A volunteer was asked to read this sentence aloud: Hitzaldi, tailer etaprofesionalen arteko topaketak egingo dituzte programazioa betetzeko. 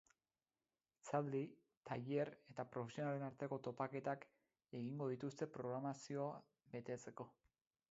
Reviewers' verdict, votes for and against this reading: rejected, 2, 2